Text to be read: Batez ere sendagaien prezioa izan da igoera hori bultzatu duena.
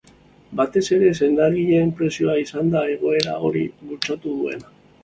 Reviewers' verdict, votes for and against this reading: rejected, 0, 2